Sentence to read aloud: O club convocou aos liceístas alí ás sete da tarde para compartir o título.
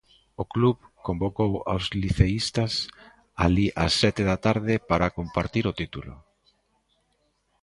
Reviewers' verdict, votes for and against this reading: accepted, 3, 0